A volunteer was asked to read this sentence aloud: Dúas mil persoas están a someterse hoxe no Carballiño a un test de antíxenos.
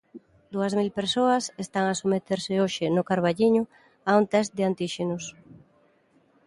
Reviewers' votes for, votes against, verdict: 2, 0, accepted